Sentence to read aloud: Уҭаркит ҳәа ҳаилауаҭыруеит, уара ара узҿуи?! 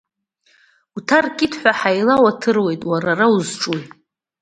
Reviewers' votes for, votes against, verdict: 2, 0, accepted